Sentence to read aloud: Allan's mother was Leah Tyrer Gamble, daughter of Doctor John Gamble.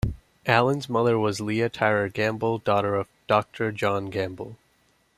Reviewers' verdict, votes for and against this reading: accepted, 2, 0